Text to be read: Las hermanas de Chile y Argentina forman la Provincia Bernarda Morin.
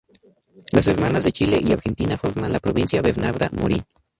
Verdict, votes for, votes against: accepted, 2, 0